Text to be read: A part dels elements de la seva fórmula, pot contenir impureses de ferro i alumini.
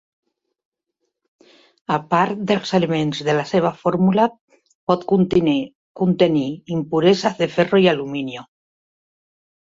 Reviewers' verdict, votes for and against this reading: rejected, 0, 2